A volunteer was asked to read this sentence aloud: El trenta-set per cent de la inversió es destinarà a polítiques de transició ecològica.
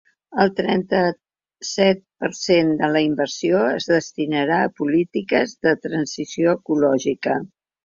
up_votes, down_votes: 3, 1